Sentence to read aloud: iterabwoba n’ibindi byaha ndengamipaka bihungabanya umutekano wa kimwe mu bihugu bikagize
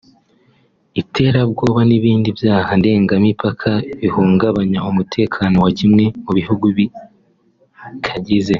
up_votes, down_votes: 2, 1